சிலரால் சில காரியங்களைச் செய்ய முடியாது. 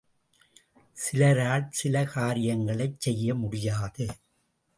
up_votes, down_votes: 3, 0